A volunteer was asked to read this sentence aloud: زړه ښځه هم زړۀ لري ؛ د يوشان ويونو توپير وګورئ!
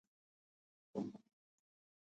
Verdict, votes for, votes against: rejected, 1, 2